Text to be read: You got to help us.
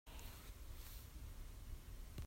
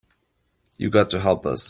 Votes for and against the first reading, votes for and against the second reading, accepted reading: 0, 2, 3, 0, second